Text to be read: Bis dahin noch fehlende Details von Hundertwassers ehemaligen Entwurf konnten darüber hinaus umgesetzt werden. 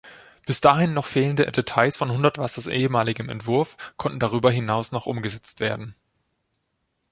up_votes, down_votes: 0, 2